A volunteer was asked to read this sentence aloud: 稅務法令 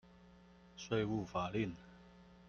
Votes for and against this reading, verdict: 0, 2, rejected